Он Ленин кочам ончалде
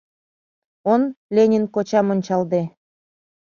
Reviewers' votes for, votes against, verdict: 2, 0, accepted